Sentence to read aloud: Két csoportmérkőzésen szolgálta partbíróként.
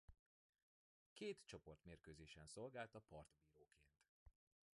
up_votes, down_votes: 2, 0